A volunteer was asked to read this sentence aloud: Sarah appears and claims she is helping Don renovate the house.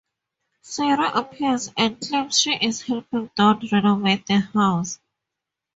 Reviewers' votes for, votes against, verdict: 2, 0, accepted